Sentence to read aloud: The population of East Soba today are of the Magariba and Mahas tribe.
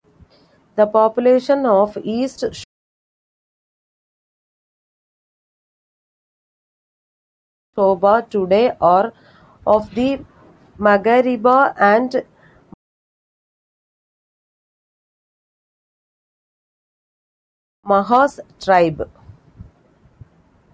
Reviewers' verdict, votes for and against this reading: rejected, 0, 3